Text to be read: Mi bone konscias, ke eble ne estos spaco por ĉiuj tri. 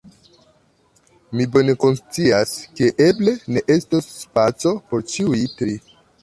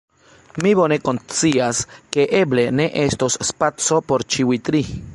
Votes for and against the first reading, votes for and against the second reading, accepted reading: 3, 0, 0, 2, first